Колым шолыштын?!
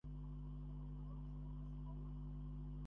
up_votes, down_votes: 0, 2